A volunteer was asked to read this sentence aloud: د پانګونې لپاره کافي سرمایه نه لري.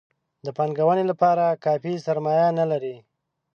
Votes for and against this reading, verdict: 4, 0, accepted